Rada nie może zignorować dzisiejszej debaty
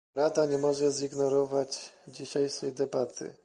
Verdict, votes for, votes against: rejected, 1, 2